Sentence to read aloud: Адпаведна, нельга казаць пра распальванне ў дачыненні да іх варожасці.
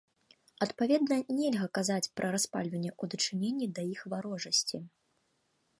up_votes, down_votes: 2, 0